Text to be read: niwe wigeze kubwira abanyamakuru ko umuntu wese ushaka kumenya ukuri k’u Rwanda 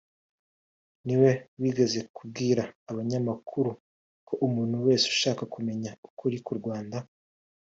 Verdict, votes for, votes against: rejected, 1, 2